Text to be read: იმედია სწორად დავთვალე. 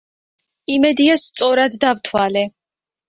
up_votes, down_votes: 2, 0